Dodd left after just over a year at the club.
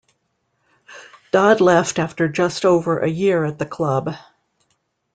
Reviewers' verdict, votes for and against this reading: accepted, 2, 0